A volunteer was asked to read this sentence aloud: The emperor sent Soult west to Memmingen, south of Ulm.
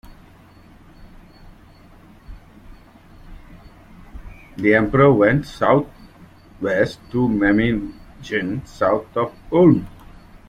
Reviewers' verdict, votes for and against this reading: rejected, 0, 2